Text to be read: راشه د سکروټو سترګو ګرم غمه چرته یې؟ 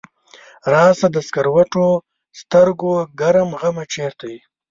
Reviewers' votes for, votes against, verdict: 2, 0, accepted